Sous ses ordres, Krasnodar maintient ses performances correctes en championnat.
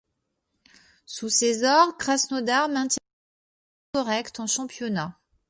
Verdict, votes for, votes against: rejected, 1, 2